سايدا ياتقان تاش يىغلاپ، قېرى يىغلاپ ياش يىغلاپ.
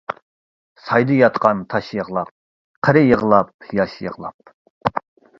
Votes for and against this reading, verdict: 2, 0, accepted